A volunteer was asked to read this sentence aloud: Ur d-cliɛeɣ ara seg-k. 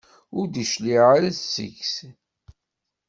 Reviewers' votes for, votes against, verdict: 1, 2, rejected